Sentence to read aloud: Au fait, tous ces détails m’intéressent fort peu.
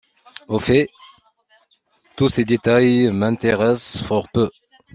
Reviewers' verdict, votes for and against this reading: accepted, 2, 0